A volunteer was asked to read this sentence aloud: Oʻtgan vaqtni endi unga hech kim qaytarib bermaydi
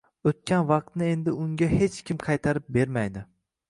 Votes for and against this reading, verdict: 2, 0, accepted